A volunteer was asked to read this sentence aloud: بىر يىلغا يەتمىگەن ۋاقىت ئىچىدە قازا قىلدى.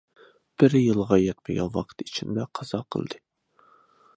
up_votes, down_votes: 0, 2